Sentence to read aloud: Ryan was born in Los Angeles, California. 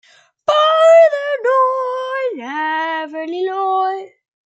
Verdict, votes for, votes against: rejected, 0, 2